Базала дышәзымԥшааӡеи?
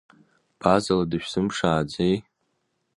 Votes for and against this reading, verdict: 2, 1, accepted